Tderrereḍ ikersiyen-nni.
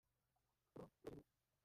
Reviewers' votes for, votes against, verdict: 1, 2, rejected